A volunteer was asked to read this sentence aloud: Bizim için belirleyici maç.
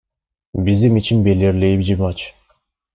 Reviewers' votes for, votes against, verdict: 0, 2, rejected